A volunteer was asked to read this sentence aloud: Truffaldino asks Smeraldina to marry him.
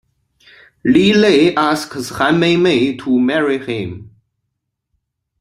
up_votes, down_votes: 0, 2